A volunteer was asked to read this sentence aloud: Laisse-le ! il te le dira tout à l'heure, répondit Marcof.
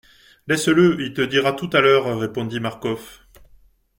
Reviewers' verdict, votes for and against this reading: rejected, 0, 2